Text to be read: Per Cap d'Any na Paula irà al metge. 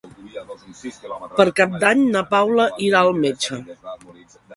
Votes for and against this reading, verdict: 0, 2, rejected